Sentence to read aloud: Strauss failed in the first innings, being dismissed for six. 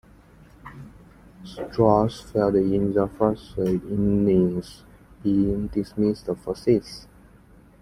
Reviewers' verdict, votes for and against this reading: accepted, 2, 0